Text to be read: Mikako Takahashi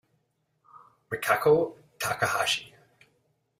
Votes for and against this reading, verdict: 1, 2, rejected